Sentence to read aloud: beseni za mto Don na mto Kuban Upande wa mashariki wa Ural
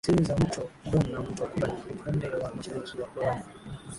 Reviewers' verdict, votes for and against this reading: rejected, 0, 2